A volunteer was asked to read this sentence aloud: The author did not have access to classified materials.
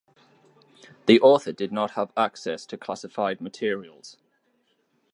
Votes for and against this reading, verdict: 2, 0, accepted